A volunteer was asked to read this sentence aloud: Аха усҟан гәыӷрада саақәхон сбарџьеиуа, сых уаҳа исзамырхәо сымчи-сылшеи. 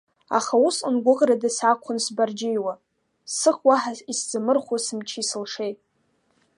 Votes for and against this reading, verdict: 2, 0, accepted